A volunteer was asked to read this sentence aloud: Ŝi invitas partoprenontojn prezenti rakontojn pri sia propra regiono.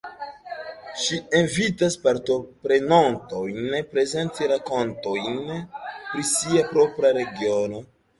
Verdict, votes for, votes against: rejected, 0, 2